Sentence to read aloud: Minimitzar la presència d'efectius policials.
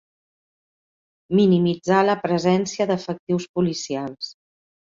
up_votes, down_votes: 4, 0